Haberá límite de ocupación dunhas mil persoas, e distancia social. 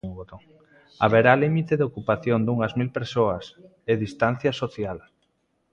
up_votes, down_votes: 1, 2